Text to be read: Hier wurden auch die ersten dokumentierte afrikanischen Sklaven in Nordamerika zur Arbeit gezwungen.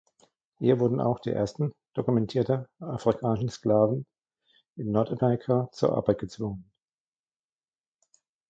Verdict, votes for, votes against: rejected, 1, 2